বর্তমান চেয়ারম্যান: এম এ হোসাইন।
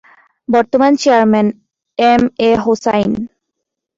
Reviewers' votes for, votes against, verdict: 2, 0, accepted